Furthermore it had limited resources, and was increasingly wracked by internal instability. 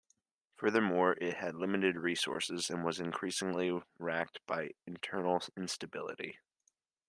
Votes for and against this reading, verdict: 2, 1, accepted